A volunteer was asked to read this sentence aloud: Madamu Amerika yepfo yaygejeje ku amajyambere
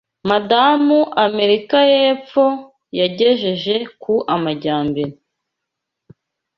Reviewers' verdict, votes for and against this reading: accepted, 2, 0